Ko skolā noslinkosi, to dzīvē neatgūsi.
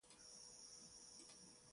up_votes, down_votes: 0, 2